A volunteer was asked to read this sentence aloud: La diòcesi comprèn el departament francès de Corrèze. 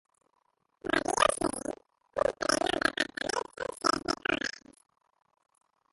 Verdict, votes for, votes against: rejected, 0, 3